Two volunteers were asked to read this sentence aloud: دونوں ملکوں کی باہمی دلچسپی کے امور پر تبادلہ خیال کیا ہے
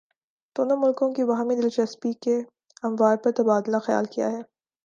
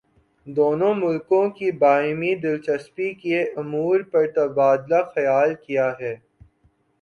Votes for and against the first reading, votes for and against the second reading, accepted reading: 1, 2, 2, 0, second